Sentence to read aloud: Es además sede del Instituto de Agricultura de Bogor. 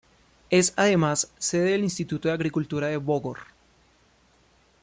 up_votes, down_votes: 2, 0